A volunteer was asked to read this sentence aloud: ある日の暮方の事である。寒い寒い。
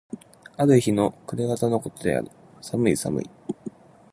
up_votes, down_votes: 2, 0